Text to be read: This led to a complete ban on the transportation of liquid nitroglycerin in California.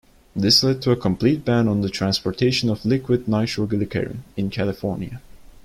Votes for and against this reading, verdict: 0, 2, rejected